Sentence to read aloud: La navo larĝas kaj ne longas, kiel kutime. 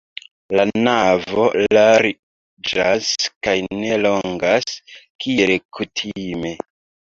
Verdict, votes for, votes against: rejected, 0, 2